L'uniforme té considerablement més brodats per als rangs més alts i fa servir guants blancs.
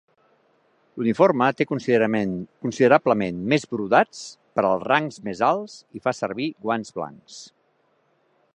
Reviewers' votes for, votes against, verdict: 1, 6, rejected